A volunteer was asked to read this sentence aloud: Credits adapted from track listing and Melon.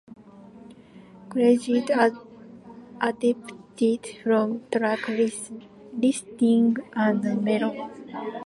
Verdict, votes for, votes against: rejected, 0, 2